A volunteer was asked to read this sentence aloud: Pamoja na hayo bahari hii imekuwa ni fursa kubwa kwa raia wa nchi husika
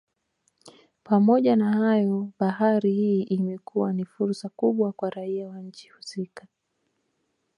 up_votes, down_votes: 2, 0